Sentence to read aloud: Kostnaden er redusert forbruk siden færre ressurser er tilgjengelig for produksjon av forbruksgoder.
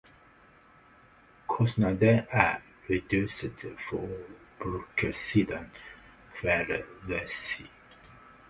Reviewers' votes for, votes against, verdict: 0, 2, rejected